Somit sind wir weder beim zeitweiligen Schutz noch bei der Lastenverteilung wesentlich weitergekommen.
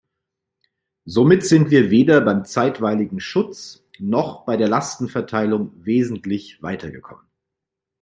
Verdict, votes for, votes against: accepted, 2, 0